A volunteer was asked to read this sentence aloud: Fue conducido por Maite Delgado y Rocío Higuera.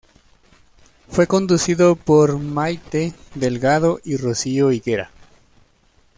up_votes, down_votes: 2, 0